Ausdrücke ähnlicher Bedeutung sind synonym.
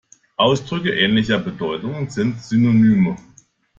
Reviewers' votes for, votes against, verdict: 1, 2, rejected